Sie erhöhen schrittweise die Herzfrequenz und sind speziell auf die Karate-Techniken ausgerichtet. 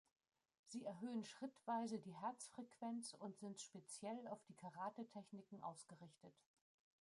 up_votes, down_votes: 0, 2